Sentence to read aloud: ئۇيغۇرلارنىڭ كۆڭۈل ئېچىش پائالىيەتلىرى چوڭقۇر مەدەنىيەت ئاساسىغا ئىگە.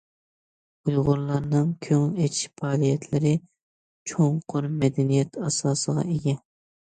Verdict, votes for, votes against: accepted, 2, 0